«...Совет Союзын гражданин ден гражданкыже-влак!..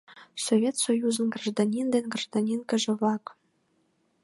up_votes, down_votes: 0, 2